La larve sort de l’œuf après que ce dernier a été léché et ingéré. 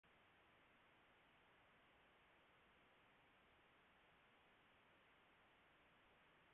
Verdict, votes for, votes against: rejected, 0, 2